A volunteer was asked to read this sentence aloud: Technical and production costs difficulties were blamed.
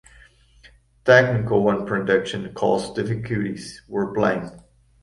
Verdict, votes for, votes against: rejected, 0, 2